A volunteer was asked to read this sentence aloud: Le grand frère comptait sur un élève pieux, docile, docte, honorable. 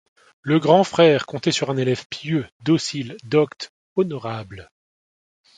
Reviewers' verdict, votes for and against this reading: accepted, 3, 0